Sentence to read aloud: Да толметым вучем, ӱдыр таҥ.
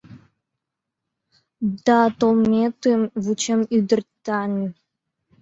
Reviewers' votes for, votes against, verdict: 2, 1, accepted